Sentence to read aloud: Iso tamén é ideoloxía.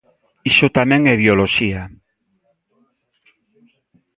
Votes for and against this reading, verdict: 2, 0, accepted